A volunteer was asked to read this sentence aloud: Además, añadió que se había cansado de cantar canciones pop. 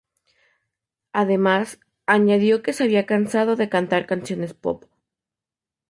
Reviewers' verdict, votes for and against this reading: accepted, 4, 0